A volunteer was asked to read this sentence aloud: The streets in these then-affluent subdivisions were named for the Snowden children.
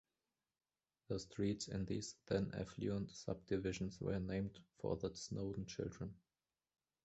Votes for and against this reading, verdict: 0, 3, rejected